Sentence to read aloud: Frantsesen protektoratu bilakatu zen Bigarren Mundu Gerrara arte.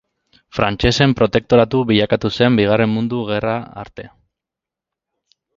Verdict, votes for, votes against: rejected, 2, 2